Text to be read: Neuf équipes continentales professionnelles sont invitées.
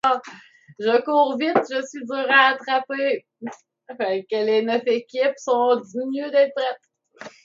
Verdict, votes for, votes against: rejected, 0, 2